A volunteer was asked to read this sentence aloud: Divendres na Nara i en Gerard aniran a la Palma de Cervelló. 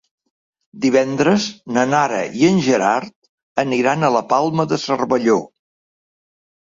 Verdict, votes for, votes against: accepted, 3, 0